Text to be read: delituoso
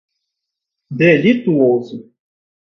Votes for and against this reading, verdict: 2, 0, accepted